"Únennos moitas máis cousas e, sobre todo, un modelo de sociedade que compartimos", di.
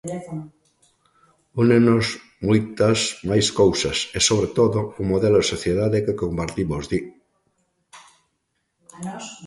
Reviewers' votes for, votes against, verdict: 2, 0, accepted